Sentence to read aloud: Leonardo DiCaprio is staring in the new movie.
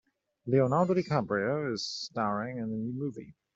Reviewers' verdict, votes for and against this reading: accepted, 2, 0